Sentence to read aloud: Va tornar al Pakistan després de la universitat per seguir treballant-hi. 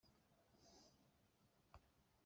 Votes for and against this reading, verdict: 0, 2, rejected